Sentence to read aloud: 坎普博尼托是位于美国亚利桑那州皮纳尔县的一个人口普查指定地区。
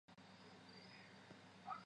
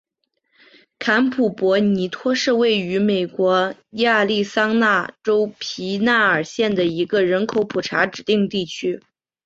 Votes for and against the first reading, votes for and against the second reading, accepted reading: 0, 2, 3, 0, second